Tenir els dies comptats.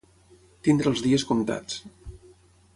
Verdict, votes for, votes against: rejected, 3, 6